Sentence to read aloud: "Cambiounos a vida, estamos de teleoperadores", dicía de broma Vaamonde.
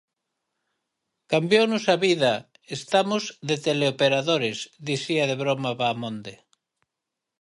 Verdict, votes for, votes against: accepted, 6, 0